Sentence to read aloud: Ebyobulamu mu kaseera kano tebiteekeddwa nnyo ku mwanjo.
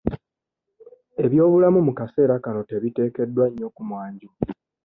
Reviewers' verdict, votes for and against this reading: accepted, 2, 0